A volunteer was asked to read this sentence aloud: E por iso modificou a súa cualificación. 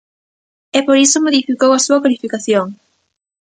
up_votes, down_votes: 2, 0